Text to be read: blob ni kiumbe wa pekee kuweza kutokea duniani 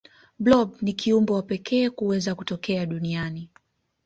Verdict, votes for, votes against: accepted, 2, 0